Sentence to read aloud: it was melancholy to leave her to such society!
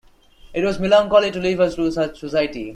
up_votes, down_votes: 0, 2